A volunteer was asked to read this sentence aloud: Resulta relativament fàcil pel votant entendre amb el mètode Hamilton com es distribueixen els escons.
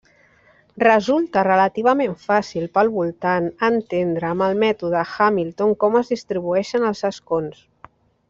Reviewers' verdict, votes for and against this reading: accepted, 2, 0